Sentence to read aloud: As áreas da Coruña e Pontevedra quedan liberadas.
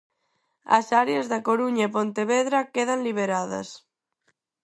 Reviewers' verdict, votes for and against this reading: accepted, 4, 0